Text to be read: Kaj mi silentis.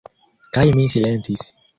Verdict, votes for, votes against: accepted, 2, 1